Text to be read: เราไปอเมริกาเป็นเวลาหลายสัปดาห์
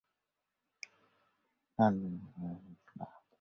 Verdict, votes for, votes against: rejected, 0, 2